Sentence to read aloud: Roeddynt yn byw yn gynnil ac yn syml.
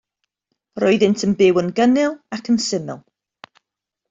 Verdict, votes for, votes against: accepted, 2, 0